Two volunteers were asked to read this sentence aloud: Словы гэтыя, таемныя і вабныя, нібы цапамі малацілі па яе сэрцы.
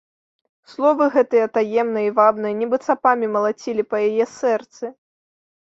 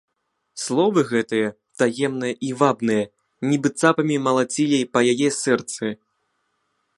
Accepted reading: first